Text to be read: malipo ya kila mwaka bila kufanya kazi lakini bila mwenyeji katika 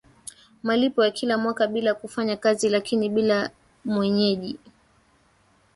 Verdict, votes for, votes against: rejected, 1, 2